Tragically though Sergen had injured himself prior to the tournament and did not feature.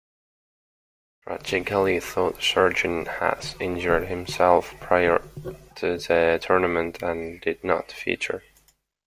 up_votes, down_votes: 1, 2